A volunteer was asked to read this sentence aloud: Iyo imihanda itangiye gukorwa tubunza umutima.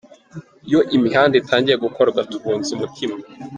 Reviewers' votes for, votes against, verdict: 1, 2, rejected